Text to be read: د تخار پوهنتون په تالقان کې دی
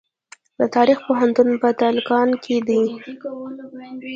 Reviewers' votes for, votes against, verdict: 2, 0, accepted